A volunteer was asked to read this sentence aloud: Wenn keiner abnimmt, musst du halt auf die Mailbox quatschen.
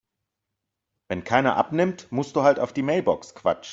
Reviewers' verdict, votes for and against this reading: rejected, 0, 2